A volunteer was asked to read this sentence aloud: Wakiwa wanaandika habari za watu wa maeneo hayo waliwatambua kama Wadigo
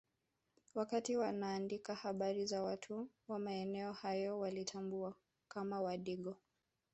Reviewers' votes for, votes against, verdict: 2, 1, accepted